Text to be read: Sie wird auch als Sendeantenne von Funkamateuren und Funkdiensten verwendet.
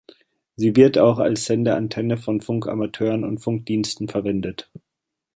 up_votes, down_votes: 1, 2